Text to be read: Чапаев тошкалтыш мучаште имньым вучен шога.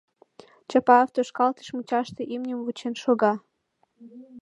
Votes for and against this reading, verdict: 2, 0, accepted